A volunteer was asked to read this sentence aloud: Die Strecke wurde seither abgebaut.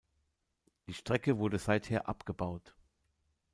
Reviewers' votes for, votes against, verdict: 2, 0, accepted